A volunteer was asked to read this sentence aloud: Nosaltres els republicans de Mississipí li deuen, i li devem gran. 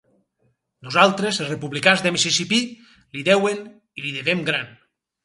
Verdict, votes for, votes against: rejected, 2, 2